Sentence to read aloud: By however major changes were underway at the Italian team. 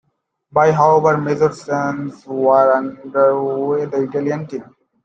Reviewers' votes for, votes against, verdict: 0, 2, rejected